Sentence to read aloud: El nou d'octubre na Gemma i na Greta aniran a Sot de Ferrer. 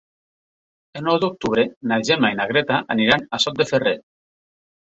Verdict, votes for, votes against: accepted, 3, 0